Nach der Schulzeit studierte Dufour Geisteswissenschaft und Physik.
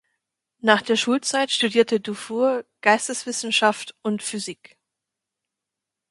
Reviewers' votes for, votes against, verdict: 2, 0, accepted